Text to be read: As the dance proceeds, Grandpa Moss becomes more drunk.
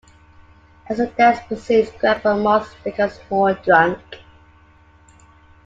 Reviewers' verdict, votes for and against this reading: rejected, 1, 2